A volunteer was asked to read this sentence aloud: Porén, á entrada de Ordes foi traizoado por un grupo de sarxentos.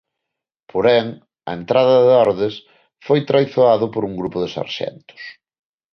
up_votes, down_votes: 2, 0